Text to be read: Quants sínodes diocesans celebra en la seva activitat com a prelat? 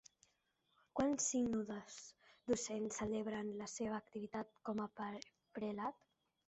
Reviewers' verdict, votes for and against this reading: rejected, 0, 2